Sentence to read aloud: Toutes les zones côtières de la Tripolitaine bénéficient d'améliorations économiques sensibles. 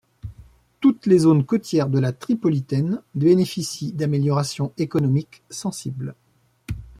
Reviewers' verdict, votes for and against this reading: accepted, 2, 0